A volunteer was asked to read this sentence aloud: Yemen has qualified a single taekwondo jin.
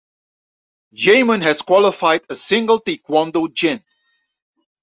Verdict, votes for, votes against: rejected, 1, 2